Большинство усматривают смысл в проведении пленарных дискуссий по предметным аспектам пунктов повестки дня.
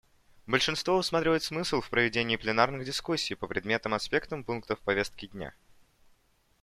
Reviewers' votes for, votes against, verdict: 2, 0, accepted